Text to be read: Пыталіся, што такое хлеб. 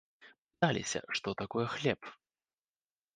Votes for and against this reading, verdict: 0, 3, rejected